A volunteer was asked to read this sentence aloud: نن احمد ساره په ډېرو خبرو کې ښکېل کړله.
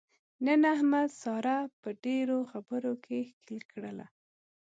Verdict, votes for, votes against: accepted, 2, 0